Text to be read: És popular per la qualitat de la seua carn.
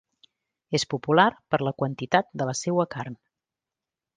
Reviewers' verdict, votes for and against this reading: rejected, 1, 2